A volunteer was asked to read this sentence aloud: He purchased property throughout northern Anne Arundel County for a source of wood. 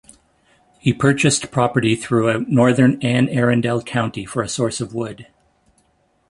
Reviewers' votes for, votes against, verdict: 2, 0, accepted